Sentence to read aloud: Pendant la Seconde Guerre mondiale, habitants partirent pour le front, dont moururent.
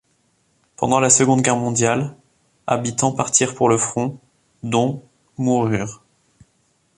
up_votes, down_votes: 1, 2